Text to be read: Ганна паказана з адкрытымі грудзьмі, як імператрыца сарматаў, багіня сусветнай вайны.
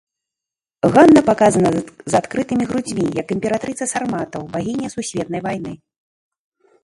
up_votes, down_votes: 0, 2